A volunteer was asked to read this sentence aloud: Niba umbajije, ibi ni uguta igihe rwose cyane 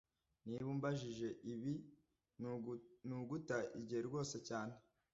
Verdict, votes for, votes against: rejected, 0, 2